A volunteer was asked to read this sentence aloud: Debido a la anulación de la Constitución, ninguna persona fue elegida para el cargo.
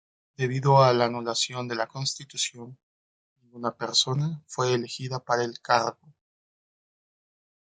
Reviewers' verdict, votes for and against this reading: rejected, 1, 2